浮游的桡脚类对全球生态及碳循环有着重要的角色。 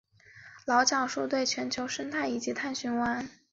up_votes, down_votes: 0, 2